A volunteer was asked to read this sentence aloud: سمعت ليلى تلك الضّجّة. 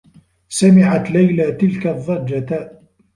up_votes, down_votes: 1, 2